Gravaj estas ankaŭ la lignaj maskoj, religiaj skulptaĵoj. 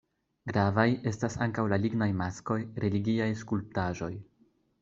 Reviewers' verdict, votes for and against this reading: accepted, 2, 0